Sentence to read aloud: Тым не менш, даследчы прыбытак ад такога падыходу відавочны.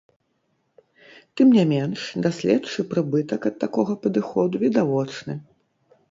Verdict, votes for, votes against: rejected, 0, 3